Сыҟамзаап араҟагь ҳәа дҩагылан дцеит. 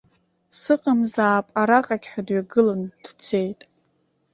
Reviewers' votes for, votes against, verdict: 2, 0, accepted